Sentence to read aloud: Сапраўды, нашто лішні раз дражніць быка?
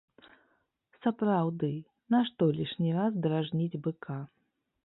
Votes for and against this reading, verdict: 1, 2, rejected